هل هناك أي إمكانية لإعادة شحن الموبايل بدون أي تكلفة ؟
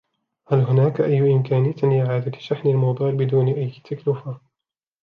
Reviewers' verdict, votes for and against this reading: rejected, 1, 2